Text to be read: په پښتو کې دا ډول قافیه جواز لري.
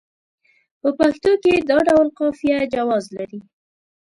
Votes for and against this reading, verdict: 2, 0, accepted